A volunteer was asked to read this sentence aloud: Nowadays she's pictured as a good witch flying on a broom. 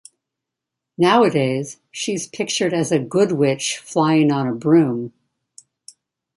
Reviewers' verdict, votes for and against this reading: accepted, 2, 0